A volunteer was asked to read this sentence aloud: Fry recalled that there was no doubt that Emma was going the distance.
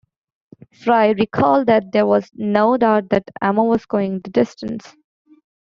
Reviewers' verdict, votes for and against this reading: rejected, 1, 2